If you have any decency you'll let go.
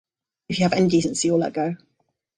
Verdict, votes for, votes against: rejected, 0, 2